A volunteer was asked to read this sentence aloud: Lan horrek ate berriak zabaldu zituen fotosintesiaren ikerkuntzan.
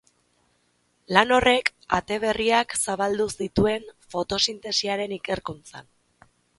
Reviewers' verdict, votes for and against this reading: accepted, 5, 0